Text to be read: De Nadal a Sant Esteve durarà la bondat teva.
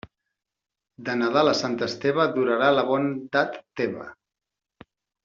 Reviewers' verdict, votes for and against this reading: rejected, 0, 2